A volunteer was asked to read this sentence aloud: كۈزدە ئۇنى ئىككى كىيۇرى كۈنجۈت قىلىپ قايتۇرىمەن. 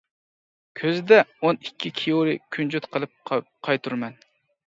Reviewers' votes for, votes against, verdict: 0, 2, rejected